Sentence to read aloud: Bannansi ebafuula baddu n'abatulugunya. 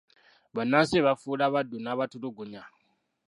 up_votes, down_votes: 1, 2